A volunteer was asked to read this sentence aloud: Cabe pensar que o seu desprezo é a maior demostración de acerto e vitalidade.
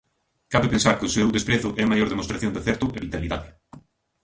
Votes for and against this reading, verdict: 1, 2, rejected